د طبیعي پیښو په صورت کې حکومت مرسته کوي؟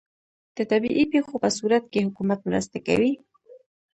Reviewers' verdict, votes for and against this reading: rejected, 0, 2